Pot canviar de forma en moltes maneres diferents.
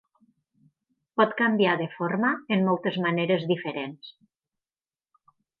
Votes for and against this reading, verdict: 6, 0, accepted